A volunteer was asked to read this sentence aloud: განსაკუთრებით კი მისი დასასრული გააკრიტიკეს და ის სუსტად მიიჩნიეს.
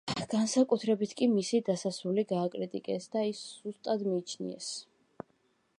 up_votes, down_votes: 2, 0